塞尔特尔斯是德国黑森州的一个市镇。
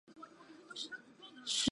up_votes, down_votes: 0, 2